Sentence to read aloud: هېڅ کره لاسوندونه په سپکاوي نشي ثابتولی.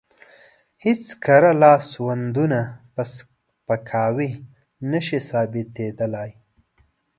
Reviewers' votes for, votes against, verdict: 1, 2, rejected